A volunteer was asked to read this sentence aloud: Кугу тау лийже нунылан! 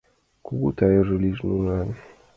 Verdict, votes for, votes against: rejected, 0, 2